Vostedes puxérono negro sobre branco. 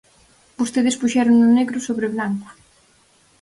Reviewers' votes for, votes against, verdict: 0, 4, rejected